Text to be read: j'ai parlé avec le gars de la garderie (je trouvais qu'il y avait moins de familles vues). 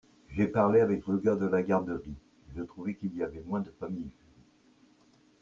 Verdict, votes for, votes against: rejected, 1, 2